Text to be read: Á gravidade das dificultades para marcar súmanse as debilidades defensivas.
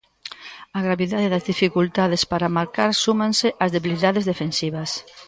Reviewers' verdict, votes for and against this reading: rejected, 1, 2